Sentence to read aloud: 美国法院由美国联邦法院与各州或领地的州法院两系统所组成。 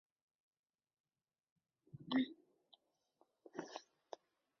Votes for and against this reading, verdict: 0, 9, rejected